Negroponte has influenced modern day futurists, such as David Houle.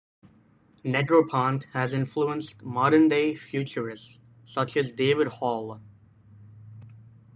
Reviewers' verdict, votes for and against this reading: rejected, 1, 2